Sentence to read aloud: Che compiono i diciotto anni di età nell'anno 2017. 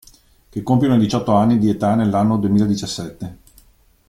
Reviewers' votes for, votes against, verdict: 0, 2, rejected